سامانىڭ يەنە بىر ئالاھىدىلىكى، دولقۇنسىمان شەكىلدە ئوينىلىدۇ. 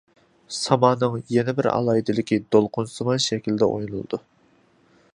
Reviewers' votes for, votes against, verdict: 2, 0, accepted